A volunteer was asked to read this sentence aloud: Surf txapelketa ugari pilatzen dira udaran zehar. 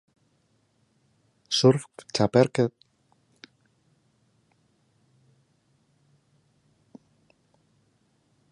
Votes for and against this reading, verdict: 0, 2, rejected